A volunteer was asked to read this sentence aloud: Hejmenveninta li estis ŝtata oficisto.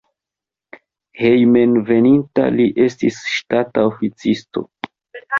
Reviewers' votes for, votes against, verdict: 2, 1, accepted